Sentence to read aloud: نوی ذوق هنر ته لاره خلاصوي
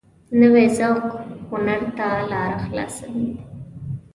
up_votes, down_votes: 2, 0